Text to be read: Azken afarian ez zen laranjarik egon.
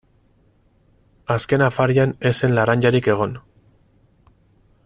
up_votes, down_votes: 4, 0